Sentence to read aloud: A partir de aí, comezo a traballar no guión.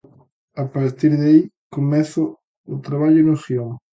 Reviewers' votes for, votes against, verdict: 0, 2, rejected